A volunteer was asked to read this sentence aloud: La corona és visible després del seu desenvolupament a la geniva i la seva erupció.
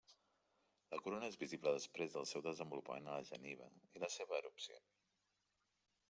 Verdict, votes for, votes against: rejected, 1, 2